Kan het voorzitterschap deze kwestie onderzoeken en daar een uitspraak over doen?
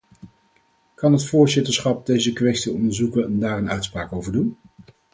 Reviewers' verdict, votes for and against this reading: rejected, 2, 2